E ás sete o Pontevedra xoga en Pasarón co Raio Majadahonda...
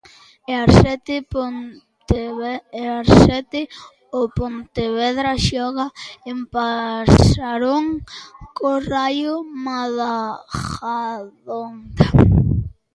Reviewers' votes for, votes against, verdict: 0, 2, rejected